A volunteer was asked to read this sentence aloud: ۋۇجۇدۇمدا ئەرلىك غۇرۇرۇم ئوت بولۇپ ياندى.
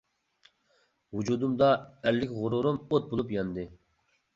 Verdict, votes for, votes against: accepted, 2, 0